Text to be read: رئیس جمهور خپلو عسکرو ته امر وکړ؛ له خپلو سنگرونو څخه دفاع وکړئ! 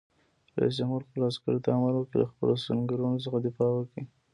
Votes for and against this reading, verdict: 1, 2, rejected